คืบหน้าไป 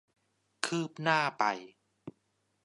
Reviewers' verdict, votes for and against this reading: accepted, 2, 0